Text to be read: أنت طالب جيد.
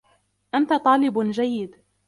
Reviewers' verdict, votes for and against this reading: accepted, 2, 1